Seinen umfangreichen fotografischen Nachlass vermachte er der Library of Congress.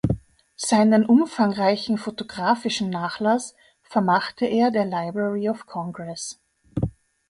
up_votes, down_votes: 2, 0